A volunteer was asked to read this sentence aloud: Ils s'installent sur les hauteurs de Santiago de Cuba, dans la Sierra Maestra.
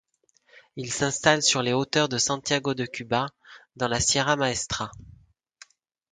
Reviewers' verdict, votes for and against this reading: accepted, 2, 0